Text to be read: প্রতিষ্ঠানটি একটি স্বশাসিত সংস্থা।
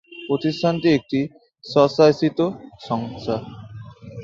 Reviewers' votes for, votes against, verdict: 0, 2, rejected